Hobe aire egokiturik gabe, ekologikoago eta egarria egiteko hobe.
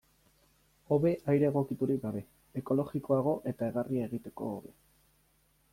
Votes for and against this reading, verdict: 2, 0, accepted